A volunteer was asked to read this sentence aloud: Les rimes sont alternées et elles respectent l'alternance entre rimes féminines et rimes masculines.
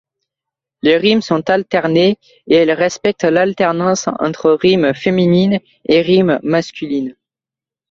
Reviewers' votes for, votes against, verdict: 2, 0, accepted